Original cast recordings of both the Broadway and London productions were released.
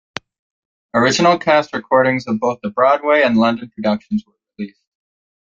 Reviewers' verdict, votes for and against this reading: rejected, 0, 2